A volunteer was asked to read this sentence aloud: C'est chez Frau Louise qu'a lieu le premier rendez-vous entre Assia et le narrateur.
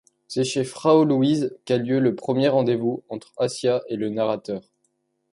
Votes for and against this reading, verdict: 2, 0, accepted